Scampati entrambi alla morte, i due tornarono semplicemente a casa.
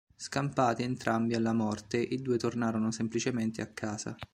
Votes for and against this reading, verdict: 3, 0, accepted